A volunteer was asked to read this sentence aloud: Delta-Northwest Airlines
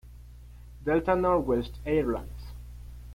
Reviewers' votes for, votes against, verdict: 1, 2, rejected